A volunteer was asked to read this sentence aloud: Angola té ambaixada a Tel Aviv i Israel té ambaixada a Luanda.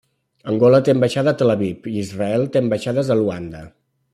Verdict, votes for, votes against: rejected, 1, 2